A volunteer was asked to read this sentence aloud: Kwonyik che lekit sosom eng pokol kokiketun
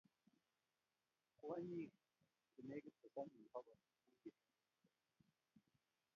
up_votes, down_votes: 0, 2